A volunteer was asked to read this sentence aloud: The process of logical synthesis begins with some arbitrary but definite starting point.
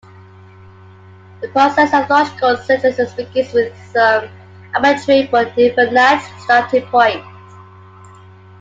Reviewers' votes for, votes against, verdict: 2, 0, accepted